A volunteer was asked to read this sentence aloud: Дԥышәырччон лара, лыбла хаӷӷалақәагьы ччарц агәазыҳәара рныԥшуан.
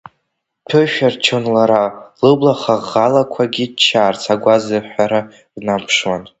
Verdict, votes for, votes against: rejected, 1, 2